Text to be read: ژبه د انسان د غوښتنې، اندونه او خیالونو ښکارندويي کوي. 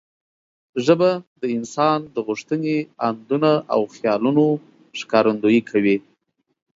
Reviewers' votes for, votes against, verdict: 2, 0, accepted